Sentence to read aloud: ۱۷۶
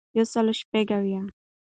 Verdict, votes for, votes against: rejected, 0, 2